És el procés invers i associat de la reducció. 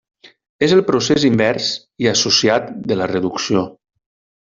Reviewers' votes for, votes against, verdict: 3, 0, accepted